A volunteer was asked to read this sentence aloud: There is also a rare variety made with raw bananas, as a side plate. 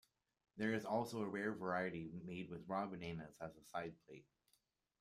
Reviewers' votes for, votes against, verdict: 1, 2, rejected